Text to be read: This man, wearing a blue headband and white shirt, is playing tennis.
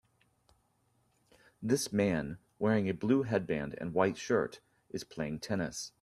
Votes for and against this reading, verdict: 2, 0, accepted